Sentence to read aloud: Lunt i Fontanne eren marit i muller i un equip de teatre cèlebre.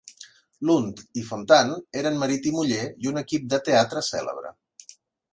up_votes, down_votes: 2, 0